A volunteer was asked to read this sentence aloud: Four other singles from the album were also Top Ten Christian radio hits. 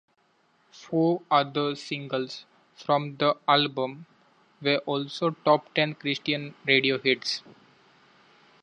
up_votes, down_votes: 2, 0